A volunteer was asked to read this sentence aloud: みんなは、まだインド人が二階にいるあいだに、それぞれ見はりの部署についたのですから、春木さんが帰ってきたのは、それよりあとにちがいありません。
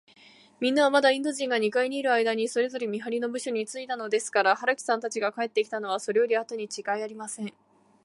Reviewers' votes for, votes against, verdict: 2, 1, accepted